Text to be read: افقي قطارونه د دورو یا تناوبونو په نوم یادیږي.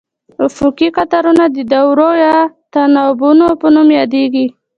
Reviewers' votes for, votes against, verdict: 2, 1, accepted